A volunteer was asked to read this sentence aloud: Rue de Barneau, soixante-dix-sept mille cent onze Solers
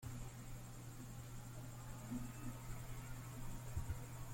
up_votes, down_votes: 0, 2